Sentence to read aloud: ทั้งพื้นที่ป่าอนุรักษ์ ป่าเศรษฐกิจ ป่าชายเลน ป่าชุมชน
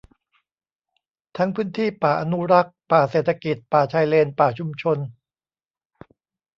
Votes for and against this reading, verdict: 2, 0, accepted